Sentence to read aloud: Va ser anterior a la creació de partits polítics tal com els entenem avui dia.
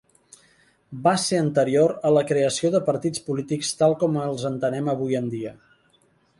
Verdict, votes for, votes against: accepted, 2, 1